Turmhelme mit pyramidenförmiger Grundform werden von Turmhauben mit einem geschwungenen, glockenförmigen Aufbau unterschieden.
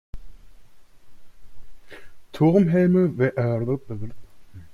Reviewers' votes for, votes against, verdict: 0, 2, rejected